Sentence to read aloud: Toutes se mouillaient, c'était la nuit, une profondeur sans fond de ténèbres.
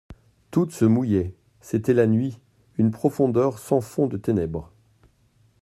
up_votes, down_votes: 2, 0